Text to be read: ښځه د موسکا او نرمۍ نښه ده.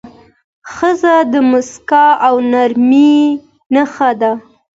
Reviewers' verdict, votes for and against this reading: accepted, 2, 0